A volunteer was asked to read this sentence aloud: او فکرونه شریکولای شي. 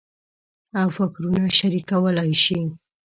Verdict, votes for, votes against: accepted, 2, 0